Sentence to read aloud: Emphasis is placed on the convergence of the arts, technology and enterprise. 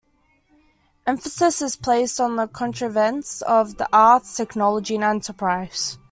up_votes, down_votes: 1, 2